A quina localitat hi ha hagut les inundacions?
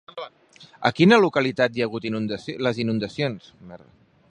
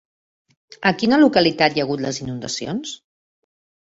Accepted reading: second